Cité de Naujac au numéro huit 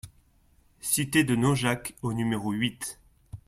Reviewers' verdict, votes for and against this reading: accepted, 2, 0